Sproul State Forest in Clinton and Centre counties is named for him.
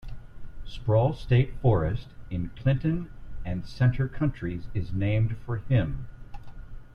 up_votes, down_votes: 2, 0